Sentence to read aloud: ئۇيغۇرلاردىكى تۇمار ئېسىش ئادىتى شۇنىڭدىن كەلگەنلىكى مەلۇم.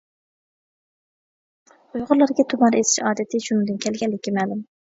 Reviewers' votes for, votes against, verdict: 0, 2, rejected